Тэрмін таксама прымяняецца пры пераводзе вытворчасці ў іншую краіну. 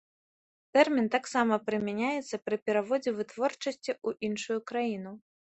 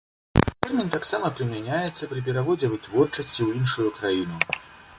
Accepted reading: first